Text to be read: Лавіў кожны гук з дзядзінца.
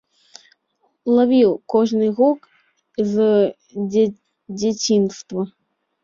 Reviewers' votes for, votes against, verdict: 0, 2, rejected